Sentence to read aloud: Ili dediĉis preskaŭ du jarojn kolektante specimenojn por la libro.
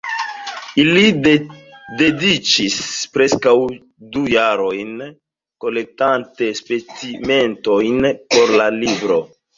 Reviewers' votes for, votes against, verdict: 0, 2, rejected